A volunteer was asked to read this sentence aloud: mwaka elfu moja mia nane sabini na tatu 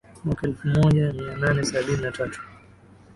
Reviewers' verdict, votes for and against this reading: accepted, 5, 0